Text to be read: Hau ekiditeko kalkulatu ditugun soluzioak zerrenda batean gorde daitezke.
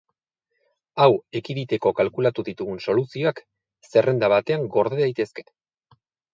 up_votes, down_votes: 6, 0